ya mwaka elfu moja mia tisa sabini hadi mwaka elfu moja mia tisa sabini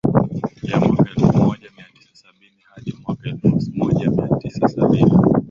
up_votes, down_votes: 3, 0